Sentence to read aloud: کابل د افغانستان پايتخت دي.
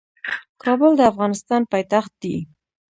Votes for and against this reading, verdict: 1, 2, rejected